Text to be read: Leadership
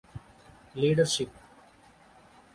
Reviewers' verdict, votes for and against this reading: accepted, 2, 0